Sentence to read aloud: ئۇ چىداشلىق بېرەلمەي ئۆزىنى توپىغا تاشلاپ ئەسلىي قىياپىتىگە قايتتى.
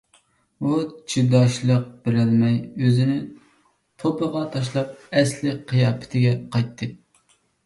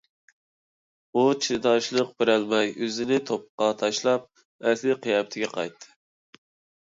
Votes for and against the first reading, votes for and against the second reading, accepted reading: 2, 0, 1, 2, first